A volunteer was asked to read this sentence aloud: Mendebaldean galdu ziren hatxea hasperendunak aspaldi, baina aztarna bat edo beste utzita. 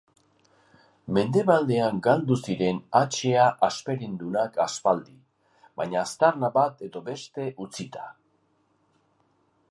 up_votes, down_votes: 0, 2